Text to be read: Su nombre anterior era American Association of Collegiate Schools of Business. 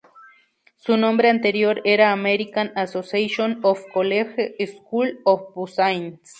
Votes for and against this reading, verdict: 0, 2, rejected